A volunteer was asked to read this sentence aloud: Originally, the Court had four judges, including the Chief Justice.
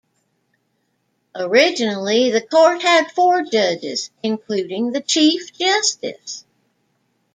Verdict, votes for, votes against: accepted, 2, 0